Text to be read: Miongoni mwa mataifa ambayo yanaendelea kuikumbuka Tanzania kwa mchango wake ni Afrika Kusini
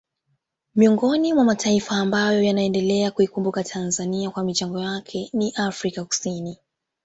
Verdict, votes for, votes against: accepted, 2, 1